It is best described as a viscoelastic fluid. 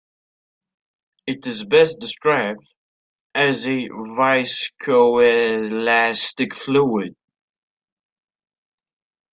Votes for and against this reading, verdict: 0, 3, rejected